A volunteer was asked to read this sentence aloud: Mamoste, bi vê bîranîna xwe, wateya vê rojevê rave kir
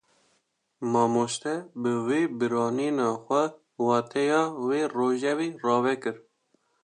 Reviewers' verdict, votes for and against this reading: accepted, 2, 0